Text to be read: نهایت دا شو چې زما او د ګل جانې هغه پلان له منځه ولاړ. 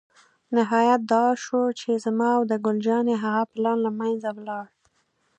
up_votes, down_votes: 2, 0